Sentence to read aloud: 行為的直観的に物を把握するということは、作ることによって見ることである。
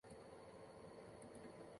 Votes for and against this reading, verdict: 0, 2, rejected